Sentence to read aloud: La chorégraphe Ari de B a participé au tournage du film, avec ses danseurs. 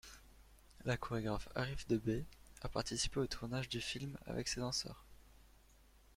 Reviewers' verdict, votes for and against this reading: rejected, 0, 2